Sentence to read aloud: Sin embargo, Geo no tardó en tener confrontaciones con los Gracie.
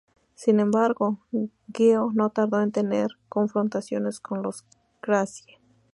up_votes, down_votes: 0, 2